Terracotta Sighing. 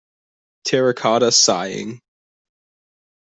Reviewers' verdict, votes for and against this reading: accepted, 2, 0